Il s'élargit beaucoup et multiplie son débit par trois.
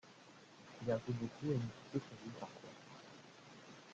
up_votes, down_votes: 0, 2